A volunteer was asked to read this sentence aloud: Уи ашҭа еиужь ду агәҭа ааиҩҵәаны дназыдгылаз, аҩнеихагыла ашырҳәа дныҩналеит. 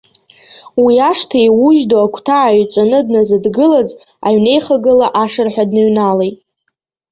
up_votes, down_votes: 2, 0